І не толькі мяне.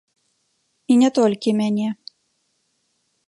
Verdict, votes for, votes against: accepted, 2, 0